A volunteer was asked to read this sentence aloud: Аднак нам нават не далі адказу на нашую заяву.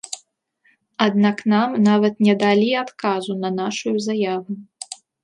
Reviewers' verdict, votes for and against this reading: accepted, 2, 0